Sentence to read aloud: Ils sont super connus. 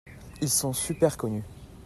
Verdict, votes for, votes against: accepted, 2, 0